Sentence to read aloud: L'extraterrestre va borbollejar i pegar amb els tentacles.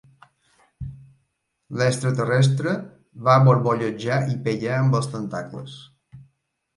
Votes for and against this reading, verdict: 2, 1, accepted